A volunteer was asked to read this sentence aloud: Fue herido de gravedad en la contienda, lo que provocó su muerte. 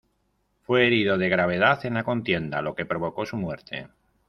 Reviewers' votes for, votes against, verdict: 2, 0, accepted